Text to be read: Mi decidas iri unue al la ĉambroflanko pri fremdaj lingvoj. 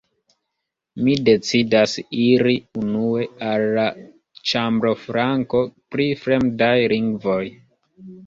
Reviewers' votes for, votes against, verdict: 2, 0, accepted